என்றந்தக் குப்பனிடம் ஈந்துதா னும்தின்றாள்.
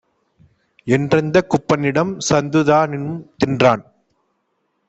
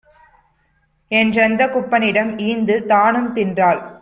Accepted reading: second